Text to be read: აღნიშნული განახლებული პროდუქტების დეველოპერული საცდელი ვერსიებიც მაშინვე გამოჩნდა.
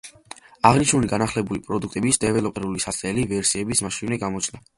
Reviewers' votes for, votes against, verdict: 2, 0, accepted